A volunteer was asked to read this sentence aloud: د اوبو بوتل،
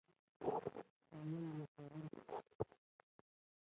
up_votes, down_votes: 1, 2